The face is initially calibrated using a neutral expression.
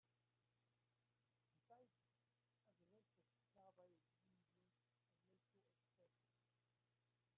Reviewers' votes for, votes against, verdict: 0, 2, rejected